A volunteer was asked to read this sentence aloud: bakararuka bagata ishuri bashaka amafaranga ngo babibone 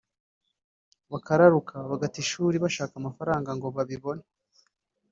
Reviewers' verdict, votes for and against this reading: rejected, 0, 2